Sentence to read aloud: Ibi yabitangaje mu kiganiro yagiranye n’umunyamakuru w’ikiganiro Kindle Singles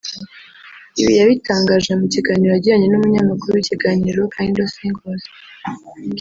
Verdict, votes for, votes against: rejected, 1, 2